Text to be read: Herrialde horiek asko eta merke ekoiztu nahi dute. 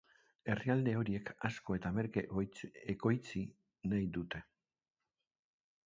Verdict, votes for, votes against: rejected, 0, 2